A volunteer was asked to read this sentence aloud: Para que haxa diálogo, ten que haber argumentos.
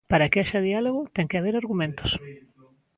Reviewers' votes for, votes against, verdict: 2, 0, accepted